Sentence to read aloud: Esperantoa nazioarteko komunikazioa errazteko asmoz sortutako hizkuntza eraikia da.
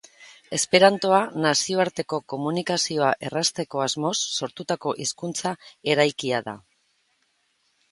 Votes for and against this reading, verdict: 2, 0, accepted